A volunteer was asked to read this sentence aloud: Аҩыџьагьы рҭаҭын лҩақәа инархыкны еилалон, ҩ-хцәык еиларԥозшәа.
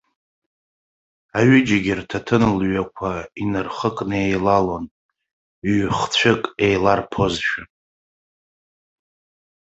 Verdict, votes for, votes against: rejected, 0, 2